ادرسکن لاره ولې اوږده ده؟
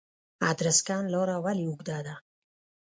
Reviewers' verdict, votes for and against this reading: rejected, 1, 2